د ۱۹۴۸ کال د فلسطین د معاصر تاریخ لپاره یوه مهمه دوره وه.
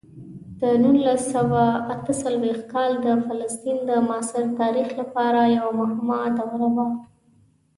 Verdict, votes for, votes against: rejected, 0, 2